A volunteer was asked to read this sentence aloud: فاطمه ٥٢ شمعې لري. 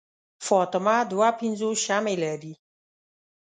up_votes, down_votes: 0, 2